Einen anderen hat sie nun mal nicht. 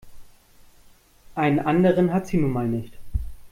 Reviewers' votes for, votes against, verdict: 2, 1, accepted